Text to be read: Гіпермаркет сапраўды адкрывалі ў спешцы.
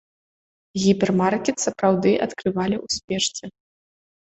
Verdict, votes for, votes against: accepted, 2, 0